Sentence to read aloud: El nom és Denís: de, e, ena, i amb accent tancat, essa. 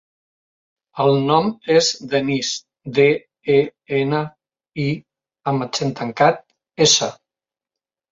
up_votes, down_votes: 3, 0